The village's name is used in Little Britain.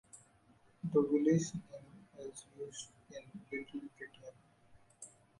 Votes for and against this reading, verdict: 0, 2, rejected